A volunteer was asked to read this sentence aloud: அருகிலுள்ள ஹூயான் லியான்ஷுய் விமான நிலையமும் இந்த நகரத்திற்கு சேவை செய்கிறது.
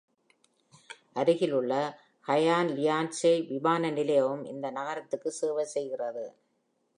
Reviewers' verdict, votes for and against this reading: accepted, 2, 0